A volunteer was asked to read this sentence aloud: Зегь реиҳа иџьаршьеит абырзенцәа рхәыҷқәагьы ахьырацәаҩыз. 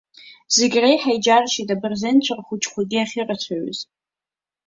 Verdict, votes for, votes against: accepted, 2, 0